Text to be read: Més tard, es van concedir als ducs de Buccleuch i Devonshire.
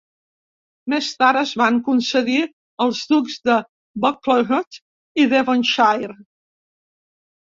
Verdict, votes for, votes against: rejected, 0, 2